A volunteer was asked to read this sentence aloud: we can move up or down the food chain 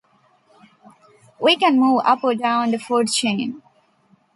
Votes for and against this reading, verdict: 2, 0, accepted